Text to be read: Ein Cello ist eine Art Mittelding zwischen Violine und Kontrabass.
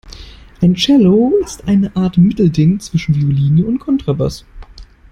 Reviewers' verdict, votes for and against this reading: accepted, 2, 0